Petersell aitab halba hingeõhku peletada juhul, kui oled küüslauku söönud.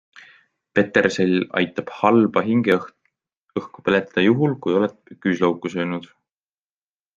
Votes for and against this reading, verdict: 0, 2, rejected